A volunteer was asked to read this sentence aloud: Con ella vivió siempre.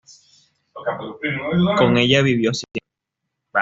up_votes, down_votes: 1, 2